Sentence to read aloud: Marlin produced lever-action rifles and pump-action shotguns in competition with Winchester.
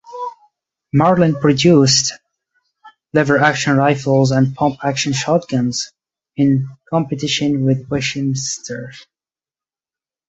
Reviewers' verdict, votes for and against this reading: rejected, 0, 2